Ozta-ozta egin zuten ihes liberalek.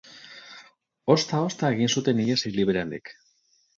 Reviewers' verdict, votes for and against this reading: rejected, 2, 2